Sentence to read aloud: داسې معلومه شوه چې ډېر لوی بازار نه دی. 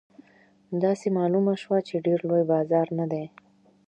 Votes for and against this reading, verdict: 2, 0, accepted